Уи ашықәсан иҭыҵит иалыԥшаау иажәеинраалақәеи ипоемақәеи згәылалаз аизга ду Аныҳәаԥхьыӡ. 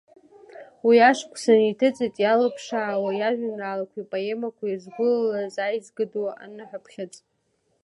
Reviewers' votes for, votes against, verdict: 3, 0, accepted